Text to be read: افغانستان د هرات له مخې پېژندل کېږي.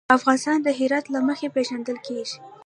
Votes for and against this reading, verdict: 2, 0, accepted